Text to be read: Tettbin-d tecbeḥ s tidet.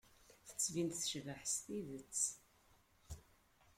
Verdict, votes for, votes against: rejected, 0, 2